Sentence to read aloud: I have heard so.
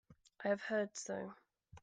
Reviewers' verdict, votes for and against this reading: accepted, 2, 0